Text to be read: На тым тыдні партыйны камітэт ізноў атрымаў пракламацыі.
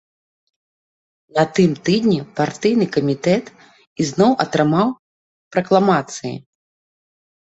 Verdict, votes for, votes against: accepted, 2, 0